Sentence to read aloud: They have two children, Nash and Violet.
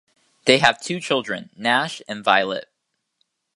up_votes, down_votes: 2, 0